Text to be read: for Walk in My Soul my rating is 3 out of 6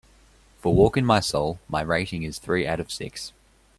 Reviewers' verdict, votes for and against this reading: rejected, 0, 2